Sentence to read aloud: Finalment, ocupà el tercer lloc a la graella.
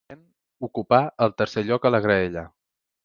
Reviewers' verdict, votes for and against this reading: rejected, 0, 2